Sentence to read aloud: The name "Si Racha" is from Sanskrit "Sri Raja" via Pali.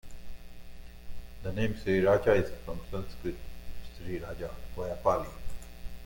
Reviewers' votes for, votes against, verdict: 0, 2, rejected